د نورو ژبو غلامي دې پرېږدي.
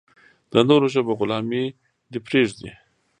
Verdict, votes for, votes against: accepted, 2, 0